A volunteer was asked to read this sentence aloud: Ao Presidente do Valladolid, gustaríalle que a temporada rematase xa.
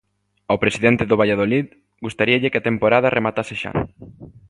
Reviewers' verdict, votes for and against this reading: accepted, 2, 0